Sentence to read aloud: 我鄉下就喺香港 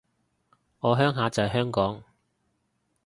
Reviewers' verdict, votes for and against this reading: rejected, 0, 2